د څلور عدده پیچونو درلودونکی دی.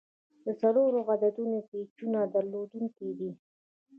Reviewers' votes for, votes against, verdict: 1, 2, rejected